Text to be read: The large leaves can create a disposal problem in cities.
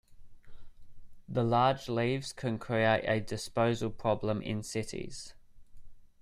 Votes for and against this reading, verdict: 2, 0, accepted